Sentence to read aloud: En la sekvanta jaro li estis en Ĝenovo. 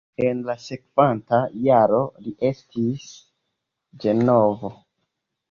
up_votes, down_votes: 0, 2